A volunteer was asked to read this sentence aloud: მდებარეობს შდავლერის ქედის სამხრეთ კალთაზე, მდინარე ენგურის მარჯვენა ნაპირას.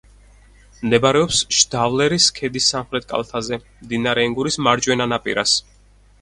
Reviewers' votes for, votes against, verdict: 6, 0, accepted